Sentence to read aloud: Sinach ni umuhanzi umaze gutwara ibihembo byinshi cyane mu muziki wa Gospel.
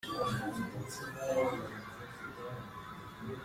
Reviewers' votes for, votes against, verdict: 0, 2, rejected